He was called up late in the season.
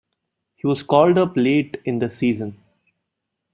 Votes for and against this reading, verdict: 2, 0, accepted